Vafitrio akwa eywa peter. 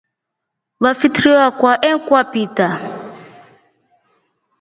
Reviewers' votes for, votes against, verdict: 0, 2, rejected